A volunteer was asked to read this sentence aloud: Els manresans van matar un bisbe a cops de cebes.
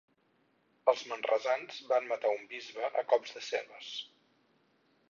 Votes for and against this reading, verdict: 4, 0, accepted